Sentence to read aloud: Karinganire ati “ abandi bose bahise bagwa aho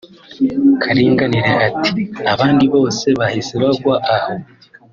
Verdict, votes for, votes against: accepted, 2, 0